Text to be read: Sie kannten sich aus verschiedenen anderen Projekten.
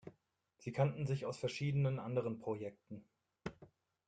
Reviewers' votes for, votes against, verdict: 0, 2, rejected